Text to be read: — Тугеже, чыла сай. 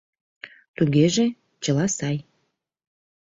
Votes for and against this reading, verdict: 2, 0, accepted